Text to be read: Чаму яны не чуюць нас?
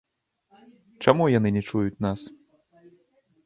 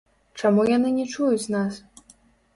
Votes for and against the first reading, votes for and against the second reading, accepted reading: 2, 0, 1, 2, first